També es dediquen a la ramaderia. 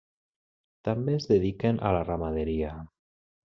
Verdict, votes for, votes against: accepted, 3, 0